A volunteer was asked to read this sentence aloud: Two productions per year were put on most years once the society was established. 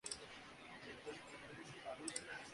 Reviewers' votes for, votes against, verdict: 0, 2, rejected